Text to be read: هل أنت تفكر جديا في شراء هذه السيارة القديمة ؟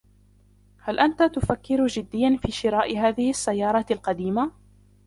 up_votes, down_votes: 3, 1